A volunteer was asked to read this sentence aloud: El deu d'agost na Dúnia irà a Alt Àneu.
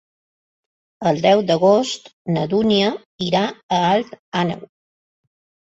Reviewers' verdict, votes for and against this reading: accepted, 4, 0